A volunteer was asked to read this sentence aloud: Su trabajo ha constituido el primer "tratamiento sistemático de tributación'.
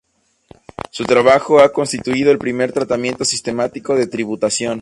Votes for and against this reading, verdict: 2, 0, accepted